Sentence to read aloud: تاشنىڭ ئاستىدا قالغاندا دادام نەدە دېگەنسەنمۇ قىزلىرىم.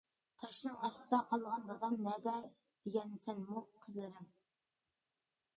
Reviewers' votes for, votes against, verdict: 0, 2, rejected